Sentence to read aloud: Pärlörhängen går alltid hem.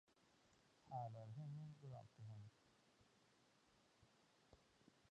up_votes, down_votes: 1, 2